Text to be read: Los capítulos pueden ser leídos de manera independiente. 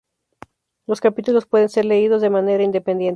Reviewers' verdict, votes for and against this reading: accepted, 2, 0